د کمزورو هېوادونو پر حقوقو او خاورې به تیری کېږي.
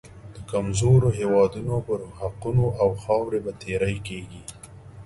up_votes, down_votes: 2, 0